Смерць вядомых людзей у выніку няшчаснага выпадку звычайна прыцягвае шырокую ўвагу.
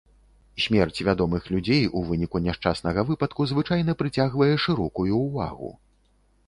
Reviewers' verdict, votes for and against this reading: accepted, 2, 0